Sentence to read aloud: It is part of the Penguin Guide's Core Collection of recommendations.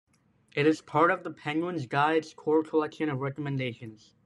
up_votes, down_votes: 0, 2